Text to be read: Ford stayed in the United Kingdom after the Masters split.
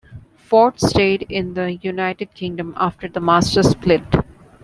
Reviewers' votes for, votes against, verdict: 2, 0, accepted